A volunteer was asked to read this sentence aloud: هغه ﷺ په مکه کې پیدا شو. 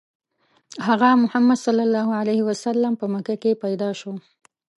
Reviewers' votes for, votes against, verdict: 1, 2, rejected